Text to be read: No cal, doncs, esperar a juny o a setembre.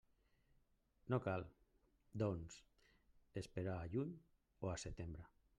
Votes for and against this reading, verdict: 1, 2, rejected